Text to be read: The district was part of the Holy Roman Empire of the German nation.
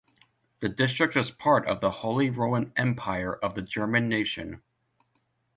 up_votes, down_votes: 2, 0